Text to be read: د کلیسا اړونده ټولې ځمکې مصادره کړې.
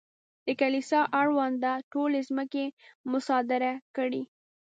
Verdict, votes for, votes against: accepted, 2, 0